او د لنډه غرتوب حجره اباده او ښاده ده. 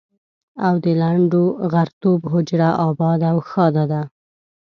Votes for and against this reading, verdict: 1, 2, rejected